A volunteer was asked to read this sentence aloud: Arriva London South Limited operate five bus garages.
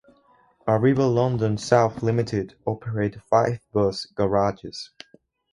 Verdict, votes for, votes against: accepted, 4, 0